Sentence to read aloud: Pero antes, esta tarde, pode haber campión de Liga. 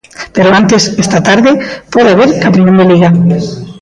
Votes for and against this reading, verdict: 1, 2, rejected